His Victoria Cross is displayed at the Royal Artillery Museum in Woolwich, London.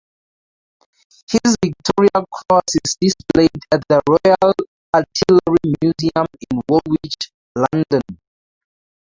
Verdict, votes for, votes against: rejected, 0, 4